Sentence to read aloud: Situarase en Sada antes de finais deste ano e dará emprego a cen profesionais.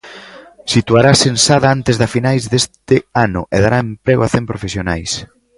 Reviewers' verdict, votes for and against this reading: rejected, 1, 2